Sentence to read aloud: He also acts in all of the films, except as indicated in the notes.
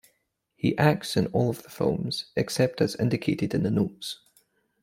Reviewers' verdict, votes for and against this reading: rejected, 0, 2